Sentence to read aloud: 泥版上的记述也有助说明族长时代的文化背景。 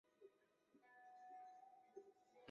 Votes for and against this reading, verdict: 0, 2, rejected